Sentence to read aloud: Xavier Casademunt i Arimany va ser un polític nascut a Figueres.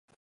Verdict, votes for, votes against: rejected, 0, 2